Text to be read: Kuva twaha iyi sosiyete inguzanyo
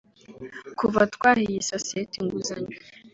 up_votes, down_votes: 3, 0